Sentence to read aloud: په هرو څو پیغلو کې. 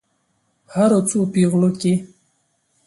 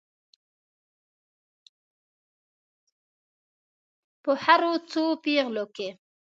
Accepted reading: first